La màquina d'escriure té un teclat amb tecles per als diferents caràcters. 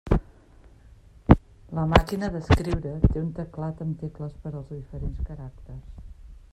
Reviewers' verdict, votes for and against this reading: rejected, 1, 2